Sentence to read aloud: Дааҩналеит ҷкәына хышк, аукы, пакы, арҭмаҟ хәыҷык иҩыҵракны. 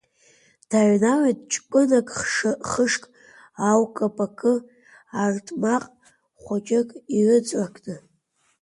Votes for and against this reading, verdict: 0, 2, rejected